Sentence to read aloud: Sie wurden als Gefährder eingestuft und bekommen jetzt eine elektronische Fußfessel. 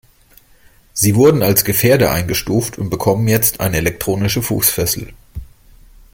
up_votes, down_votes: 2, 0